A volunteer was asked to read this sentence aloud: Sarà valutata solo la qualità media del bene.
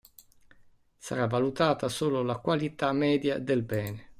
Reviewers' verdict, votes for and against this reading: accepted, 2, 1